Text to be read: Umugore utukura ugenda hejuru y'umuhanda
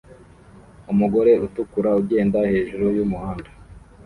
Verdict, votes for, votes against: rejected, 0, 2